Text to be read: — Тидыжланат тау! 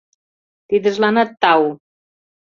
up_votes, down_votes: 2, 0